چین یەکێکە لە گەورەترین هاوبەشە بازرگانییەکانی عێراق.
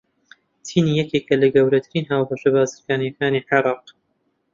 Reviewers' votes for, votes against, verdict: 2, 0, accepted